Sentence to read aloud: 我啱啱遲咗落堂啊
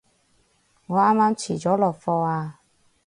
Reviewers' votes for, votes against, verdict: 0, 4, rejected